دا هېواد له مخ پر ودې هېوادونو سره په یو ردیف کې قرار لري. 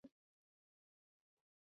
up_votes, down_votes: 1, 2